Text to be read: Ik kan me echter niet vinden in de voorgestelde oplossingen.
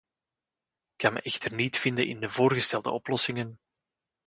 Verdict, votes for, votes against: accepted, 2, 0